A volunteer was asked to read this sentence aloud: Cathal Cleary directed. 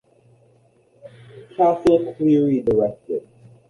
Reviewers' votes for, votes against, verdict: 1, 2, rejected